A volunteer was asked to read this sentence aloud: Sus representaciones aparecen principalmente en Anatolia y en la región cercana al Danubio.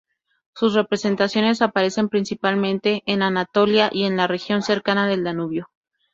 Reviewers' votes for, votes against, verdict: 0, 2, rejected